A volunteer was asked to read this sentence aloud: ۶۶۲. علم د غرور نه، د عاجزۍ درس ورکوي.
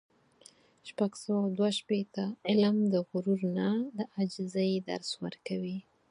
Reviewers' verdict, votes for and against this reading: rejected, 0, 2